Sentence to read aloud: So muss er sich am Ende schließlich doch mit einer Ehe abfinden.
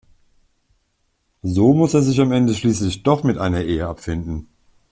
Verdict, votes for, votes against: accepted, 2, 0